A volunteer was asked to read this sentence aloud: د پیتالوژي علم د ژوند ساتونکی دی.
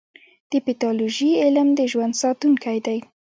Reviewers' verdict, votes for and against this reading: rejected, 1, 2